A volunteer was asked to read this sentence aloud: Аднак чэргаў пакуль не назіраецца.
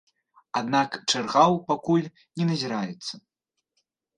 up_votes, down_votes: 1, 3